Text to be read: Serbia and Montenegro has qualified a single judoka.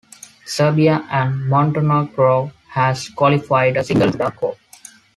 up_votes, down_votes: 0, 2